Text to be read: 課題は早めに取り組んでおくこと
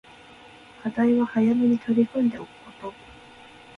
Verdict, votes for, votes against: accepted, 2, 0